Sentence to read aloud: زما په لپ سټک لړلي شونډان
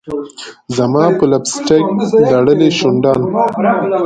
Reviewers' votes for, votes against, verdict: 0, 6, rejected